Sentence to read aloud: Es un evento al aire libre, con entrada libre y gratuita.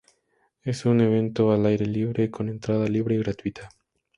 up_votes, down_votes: 2, 0